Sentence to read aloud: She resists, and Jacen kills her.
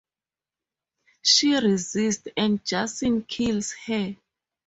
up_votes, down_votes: 0, 2